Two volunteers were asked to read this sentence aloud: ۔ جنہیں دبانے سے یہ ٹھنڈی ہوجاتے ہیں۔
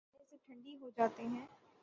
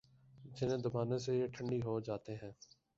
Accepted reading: second